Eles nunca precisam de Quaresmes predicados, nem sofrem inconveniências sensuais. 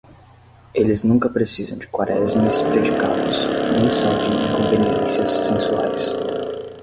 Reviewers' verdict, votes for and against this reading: rejected, 5, 10